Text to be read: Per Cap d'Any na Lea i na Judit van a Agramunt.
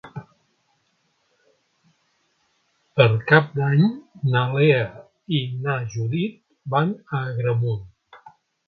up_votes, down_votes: 4, 0